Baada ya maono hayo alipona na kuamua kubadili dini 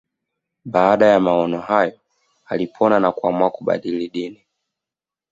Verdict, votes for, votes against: accepted, 2, 0